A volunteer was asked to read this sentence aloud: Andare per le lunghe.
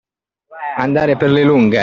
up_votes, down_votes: 2, 0